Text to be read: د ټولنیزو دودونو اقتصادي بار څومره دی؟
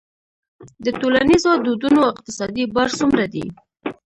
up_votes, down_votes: 2, 1